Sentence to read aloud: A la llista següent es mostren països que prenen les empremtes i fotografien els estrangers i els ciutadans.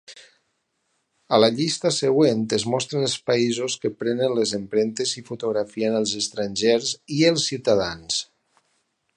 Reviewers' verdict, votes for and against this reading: rejected, 2, 4